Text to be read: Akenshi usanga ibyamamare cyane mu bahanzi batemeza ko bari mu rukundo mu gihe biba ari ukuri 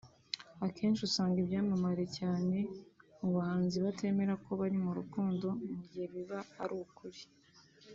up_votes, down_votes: 2, 3